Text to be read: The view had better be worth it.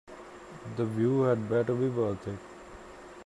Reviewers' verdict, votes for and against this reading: accepted, 2, 1